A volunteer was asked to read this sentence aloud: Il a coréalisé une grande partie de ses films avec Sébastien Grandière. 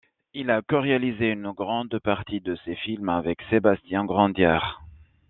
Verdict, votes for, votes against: accepted, 2, 0